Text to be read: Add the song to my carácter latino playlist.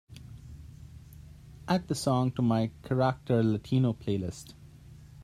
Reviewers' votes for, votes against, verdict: 2, 0, accepted